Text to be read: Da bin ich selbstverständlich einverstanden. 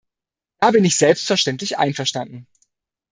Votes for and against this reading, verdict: 1, 2, rejected